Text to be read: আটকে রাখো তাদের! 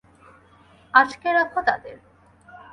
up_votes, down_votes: 4, 0